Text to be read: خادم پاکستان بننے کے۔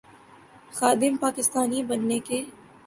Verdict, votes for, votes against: accepted, 2, 0